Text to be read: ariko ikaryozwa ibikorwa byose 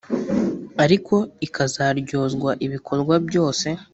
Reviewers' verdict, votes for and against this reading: rejected, 1, 2